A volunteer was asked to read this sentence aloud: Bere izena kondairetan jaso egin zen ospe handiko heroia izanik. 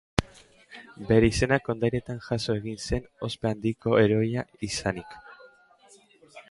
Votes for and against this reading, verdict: 2, 0, accepted